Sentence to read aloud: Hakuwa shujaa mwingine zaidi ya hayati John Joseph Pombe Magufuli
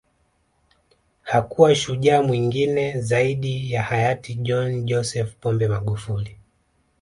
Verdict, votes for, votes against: accepted, 2, 1